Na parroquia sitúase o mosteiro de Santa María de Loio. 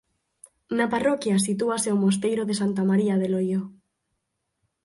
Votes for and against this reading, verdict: 4, 0, accepted